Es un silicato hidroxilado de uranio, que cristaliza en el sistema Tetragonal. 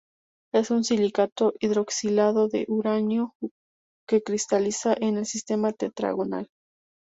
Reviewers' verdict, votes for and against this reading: accepted, 2, 0